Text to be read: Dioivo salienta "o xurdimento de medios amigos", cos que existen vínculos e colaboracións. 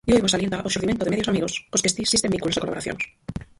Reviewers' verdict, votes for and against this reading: rejected, 0, 4